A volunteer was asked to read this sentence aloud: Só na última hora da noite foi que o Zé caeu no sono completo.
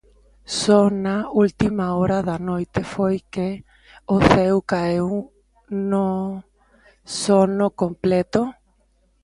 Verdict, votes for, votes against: rejected, 0, 2